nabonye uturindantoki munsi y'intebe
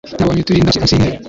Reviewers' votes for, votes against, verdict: 1, 2, rejected